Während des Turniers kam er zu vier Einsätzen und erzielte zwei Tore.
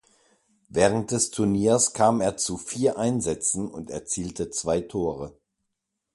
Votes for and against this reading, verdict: 2, 0, accepted